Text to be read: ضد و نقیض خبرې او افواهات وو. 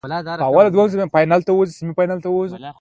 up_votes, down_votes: 0, 2